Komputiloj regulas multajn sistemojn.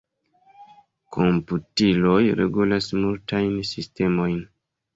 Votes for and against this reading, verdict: 3, 0, accepted